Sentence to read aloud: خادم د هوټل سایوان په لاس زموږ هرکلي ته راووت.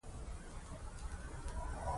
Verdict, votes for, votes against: rejected, 1, 2